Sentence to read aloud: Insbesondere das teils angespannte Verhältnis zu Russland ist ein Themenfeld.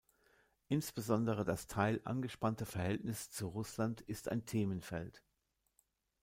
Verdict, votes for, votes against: rejected, 0, 2